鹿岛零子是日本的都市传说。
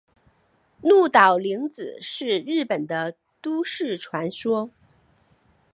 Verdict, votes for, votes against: accepted, 4, 0